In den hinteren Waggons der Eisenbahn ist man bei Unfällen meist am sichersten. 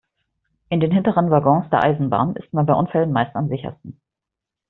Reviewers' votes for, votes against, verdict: 2, 0, accepted